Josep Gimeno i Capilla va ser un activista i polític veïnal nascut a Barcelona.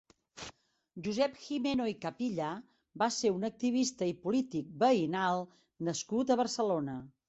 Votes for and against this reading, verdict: 2, 0, accepted